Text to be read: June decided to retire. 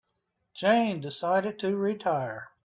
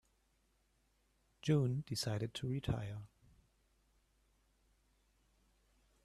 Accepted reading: second